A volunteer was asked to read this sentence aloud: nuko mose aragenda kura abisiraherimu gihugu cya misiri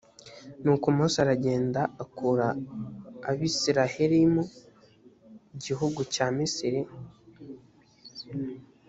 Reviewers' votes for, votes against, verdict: 1, 2, rejected